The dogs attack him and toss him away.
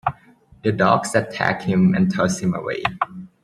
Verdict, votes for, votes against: accepted, 2, 0